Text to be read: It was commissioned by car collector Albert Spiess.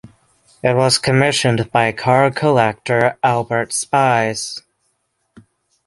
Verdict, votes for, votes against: rejected, 0, 6